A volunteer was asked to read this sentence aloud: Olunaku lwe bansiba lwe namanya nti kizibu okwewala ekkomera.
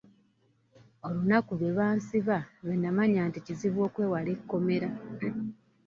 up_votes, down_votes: 1, 2